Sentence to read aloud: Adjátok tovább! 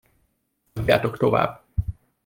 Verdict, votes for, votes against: rejected, 1, 2